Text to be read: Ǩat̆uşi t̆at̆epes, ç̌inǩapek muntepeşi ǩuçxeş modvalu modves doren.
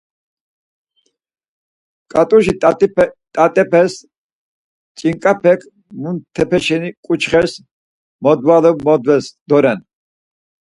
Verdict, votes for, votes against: rejected, 0, 4